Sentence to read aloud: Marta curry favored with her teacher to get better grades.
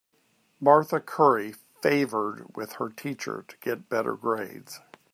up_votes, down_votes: 0, 2